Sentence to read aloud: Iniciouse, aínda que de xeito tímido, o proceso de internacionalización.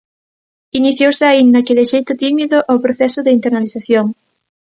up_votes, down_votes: 1, 2